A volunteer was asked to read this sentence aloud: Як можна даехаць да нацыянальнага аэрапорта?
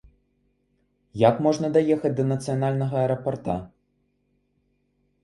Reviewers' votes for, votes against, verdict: 0, 2, rejected